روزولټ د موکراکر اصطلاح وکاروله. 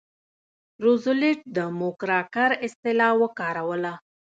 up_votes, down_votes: 0, 2